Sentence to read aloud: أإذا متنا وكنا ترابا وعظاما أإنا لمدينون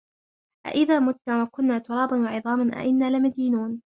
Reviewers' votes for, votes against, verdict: 0, 2, rejected